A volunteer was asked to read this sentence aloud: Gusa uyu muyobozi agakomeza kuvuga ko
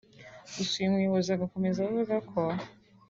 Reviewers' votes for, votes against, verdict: 2, 0, accepted